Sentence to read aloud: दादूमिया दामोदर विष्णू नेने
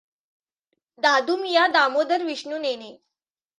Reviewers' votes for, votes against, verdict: 2, 0, accepted